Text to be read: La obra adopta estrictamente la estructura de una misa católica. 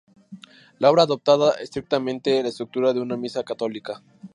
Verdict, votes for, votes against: rejected, 0, 2